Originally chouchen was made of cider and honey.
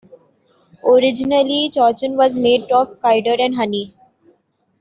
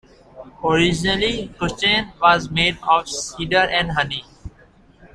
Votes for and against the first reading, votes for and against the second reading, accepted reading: 2, 0, 1, 3, first